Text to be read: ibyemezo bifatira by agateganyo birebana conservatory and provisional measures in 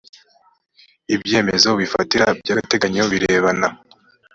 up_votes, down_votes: 0, 2